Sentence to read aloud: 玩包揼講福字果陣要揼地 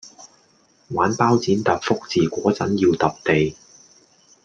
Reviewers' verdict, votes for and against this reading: rejected, 0, 2